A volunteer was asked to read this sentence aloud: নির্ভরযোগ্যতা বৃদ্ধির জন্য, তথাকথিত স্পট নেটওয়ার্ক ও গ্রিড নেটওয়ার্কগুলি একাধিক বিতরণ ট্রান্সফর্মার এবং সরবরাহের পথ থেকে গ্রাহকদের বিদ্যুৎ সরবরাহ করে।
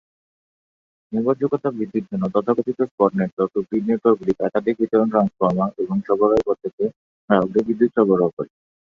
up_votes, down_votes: 9, 13